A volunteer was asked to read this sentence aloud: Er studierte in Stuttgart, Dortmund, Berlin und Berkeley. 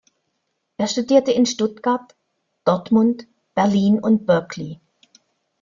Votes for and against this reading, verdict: 2, 0, accepted